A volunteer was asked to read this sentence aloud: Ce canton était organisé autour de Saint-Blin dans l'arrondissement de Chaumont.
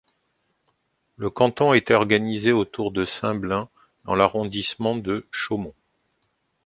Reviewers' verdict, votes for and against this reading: rejected, 0, 2